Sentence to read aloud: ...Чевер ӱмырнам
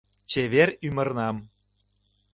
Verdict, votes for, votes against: accepted, 2, 0